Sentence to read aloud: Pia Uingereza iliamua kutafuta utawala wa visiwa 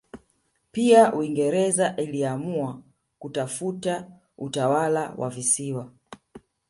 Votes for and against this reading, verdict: 1, 2, rejected